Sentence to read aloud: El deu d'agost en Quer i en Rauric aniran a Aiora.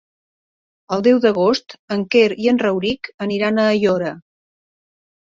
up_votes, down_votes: 1, 2